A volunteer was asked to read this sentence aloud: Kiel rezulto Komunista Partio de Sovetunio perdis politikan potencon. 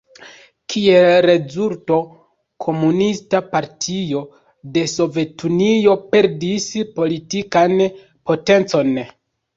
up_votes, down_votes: 2, 0